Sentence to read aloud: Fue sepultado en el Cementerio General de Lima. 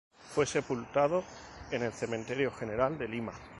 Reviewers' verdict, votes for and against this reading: rejected, 0, 2